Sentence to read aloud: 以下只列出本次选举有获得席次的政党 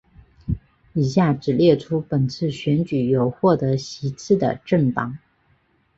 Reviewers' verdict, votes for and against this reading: accepted, 4, 3